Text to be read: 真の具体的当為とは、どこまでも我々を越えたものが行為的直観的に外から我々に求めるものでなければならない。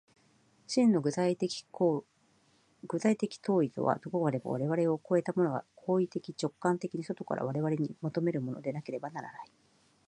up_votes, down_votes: 0, 2